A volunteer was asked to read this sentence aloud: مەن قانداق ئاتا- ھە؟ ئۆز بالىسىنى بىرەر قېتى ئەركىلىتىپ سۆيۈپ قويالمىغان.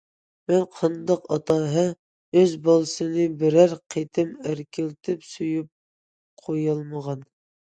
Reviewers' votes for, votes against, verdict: 2, 0, accepted